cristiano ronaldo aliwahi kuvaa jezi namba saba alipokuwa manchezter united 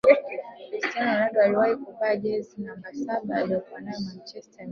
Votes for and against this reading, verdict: 0, 2, rejected